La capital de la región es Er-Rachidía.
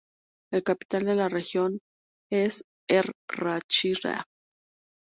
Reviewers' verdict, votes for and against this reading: rejected, 0, 2